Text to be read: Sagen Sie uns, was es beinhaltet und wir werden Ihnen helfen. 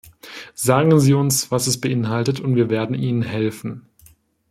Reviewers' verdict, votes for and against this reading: accepted, 2, 0